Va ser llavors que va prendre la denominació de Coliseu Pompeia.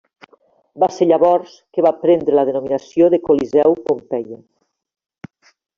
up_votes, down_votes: 2, 0